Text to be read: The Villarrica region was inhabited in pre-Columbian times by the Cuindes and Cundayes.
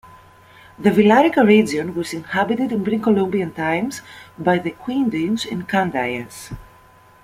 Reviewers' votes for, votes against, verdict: 1, 2, rejected